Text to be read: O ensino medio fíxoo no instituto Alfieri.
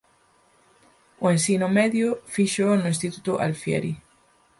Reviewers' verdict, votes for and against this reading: accepted, 4, 0